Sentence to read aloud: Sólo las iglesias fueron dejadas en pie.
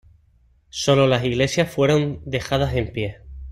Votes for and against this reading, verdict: 2, 0, accepted